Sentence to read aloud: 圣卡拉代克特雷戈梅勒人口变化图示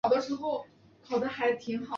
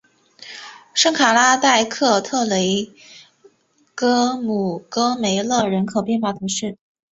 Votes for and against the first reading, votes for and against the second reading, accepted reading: 2, 4, 5, 0, second